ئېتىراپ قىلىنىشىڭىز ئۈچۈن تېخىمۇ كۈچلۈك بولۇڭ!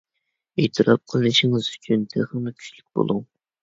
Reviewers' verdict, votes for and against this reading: accepted, 2, 0